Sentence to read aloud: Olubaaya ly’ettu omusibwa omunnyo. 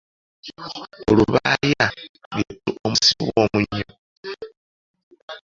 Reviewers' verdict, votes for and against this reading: rejected, 1, 2